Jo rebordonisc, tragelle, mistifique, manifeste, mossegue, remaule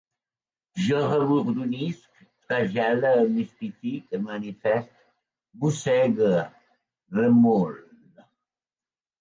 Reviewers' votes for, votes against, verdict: 1, 3, rejected